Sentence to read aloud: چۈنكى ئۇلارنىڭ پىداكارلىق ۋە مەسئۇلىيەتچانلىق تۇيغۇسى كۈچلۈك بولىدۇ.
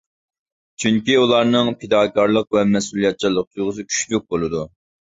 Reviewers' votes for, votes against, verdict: 0, 2, rejected